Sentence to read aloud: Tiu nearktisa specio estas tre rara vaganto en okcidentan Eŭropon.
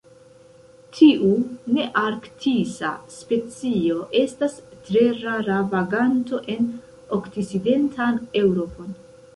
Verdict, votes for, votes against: rejected, 1, 2